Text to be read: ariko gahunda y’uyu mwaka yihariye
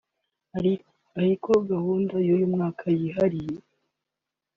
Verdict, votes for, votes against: rejected, 1, 2